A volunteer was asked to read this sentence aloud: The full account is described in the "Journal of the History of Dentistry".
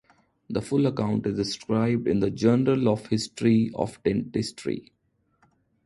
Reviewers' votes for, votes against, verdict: 0, 2, rejected